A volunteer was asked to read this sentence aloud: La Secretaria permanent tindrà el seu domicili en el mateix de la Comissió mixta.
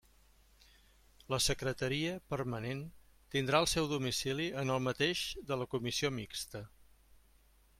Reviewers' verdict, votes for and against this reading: accepted, 3, 0